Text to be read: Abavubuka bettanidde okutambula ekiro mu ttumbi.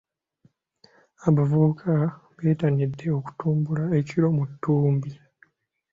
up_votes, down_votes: 1, 2